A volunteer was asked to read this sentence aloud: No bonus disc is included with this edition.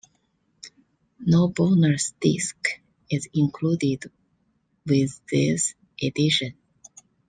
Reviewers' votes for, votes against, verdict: 2, 1, accepted